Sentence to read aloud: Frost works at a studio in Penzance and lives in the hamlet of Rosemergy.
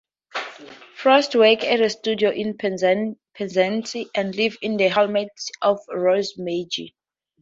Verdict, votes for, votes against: rejected, 2, 2